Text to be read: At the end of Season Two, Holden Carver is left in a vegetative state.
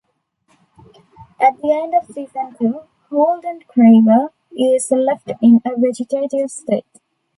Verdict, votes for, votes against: rejected, 0, 2